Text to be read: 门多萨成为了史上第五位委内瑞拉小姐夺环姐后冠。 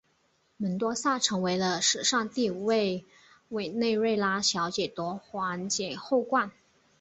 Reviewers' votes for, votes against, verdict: 4, 0, accepted